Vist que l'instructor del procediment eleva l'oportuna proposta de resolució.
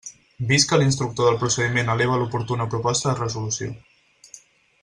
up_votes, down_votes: 4, 0